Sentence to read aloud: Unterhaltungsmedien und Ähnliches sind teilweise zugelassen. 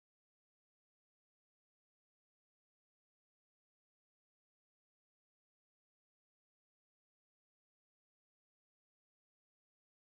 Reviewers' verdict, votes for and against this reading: rejected, 0, 4